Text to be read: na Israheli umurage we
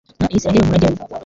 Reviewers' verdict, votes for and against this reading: rejected, 0, 2